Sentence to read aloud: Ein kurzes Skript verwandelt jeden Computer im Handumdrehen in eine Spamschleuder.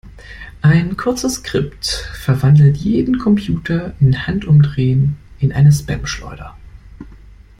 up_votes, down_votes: 1, 2